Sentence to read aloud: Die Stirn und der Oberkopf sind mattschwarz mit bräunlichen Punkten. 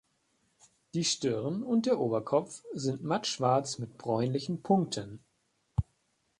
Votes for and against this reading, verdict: 2, 0, accepted